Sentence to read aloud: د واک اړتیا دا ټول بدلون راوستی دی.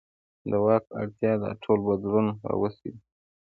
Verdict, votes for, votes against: accepted, 2, 0